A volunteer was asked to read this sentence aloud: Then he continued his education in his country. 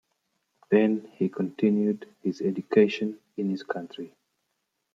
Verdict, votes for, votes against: accepted, 2, 0